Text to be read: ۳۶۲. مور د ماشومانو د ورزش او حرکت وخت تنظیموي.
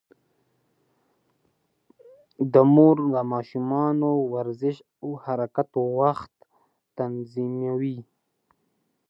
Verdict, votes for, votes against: rejected, 0, 2